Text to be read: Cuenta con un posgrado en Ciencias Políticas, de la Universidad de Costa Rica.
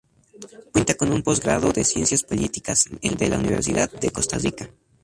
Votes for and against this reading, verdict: 2, 0, accepted